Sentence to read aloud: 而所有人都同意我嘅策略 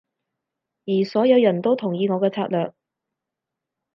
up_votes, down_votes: 4, 0